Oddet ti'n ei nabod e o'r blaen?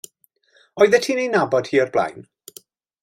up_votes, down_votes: 0, 2